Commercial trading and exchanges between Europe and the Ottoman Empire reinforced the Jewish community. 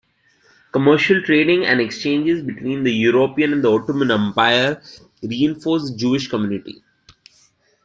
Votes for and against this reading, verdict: 1, 2, rejected